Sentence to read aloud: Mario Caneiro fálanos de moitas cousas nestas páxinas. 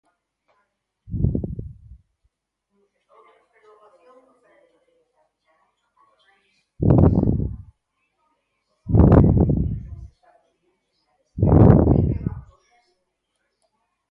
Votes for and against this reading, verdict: 0, 4, rejected